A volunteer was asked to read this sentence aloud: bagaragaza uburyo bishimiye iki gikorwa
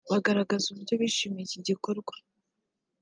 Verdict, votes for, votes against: accepted, 2, 0